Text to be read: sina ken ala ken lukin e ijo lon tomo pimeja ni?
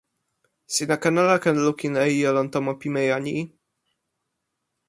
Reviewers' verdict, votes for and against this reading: accepted, 2, 0